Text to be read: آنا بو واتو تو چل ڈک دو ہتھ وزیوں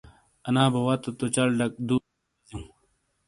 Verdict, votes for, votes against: rejected, 0, 2